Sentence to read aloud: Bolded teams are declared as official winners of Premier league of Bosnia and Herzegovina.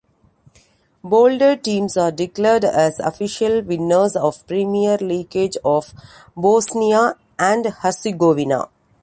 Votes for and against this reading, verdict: 2, 1, accepted